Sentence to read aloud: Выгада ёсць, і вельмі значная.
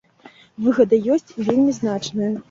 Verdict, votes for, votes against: accepted, 2, 0